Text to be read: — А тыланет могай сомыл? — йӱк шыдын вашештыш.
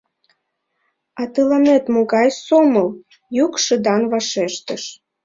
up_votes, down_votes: 0, 2